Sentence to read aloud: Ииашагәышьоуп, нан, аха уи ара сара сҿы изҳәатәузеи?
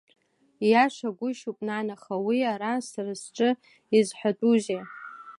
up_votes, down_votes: 2, 1